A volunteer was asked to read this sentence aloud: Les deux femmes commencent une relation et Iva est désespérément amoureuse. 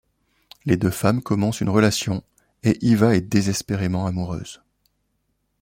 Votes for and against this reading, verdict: 2, 0, accepted